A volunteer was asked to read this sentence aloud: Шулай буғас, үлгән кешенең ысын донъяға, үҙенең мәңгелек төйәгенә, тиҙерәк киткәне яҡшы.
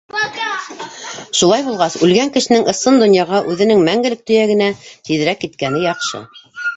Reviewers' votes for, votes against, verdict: 0, 2, rejected